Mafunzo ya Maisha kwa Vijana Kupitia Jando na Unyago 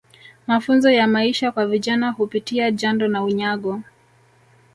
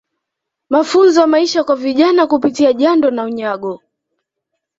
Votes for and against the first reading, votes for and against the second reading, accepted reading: 0, 2, 2, 0, second